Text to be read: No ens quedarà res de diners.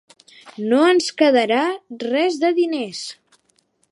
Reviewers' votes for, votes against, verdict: 4, 0, accepted